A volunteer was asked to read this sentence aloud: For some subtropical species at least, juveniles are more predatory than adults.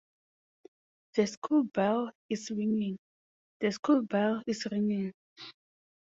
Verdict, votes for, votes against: rejected, 0, 2